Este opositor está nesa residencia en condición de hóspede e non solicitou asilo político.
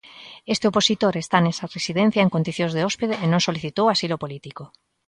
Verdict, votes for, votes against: rejected, 1, 2